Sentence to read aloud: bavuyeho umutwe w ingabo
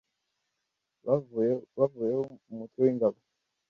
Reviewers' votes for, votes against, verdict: 1, 2, rejected